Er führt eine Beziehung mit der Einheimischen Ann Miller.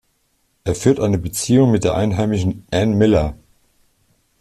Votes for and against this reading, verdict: 1, 2, rejected